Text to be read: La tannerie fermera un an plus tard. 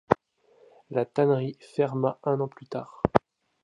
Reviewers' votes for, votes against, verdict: 0, 2, rejected